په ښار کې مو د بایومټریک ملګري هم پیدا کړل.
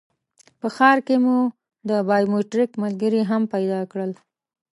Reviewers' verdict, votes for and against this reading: accepted, 2, 0